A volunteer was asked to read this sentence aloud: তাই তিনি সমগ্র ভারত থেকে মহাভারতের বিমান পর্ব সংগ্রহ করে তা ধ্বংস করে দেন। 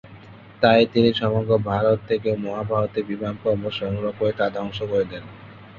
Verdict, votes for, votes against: accepted, 3, 1